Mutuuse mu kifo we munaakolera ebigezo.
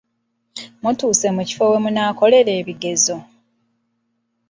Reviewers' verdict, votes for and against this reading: rejected, 0, 2